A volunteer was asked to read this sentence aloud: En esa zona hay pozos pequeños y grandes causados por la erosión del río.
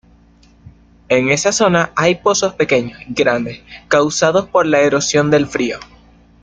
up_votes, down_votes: 0, 2